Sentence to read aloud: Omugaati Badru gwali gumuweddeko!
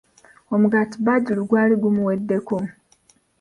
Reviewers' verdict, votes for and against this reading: accepted, 2, 1